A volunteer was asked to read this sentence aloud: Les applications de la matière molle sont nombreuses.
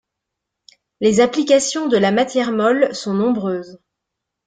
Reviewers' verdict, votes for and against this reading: accepted, 2, 0